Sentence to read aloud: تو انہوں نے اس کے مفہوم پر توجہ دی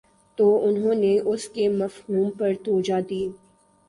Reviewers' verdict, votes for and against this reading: rejected, 1, 3